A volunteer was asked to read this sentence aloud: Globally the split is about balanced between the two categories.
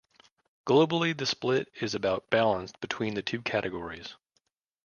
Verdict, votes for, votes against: accepted, 2, 0